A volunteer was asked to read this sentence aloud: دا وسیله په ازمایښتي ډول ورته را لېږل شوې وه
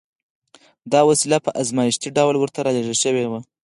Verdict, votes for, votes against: rejected, 2, 4